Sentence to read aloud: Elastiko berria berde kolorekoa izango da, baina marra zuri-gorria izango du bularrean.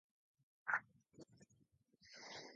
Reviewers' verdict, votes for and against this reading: rejected, 0, 4